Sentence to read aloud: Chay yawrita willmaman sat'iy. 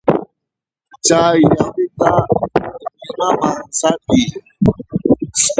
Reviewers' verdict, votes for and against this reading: rejected, 1, 2